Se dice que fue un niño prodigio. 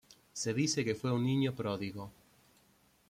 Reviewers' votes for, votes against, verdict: 1, 2, rejected